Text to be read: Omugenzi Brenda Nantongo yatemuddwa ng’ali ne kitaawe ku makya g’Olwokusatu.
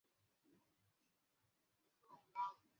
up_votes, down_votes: 0, 2